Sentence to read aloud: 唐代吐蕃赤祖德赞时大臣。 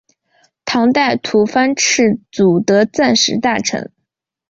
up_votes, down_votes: 2, 1